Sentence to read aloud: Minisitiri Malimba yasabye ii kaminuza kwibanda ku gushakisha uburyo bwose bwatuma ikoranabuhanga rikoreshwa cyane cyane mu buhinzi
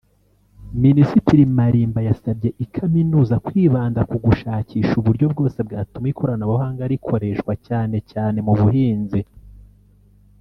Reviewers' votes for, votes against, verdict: 0, 2, rejected